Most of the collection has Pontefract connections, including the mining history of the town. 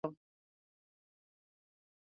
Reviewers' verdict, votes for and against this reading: rejected, 0, 2